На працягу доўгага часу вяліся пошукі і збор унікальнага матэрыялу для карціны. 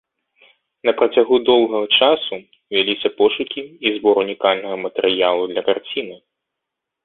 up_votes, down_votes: 2, 0